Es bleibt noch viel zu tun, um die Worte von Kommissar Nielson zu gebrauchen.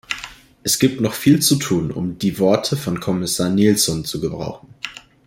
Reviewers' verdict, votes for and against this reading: rejected, 0, 2